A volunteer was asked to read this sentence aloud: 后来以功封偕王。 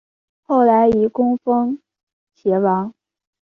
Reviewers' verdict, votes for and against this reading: accepted, 2, 0